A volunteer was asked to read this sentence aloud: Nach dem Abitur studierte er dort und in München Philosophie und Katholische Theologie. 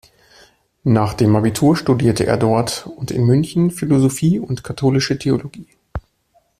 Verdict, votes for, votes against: accepted, 2, 0